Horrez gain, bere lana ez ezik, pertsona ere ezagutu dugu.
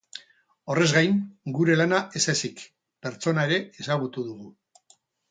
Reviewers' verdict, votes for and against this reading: rejected, 2, 2